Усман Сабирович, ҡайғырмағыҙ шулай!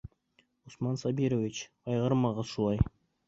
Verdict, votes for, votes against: accepted, 2, 0